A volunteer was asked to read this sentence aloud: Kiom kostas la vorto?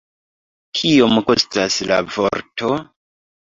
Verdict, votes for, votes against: accepted, 2, 0